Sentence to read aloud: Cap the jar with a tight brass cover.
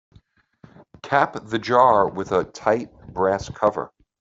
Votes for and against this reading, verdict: 2, 0, accepted